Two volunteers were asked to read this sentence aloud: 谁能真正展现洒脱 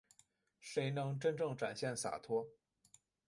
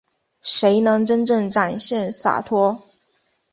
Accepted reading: second